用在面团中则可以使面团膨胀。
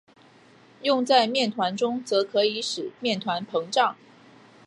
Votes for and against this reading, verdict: 9, 0, accepted